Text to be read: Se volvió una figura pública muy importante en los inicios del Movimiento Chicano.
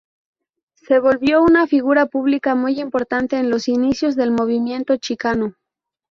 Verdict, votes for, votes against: accepted, 4, 0